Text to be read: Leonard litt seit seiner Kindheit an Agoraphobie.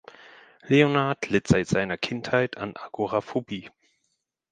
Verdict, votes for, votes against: accepted, 6, 0